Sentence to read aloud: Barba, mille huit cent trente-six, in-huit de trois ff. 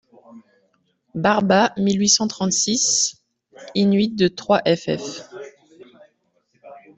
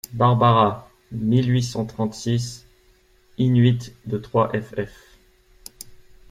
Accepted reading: first